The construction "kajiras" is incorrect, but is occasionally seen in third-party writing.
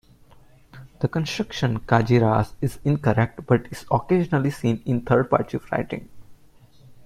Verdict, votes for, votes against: accepted, 2, 1